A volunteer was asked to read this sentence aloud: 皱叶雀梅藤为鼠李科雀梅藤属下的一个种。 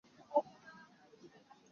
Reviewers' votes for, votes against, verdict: 5, 0, accepted